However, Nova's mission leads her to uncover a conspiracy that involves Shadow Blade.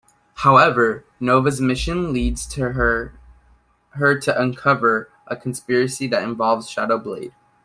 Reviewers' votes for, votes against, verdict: 2, 0, accepted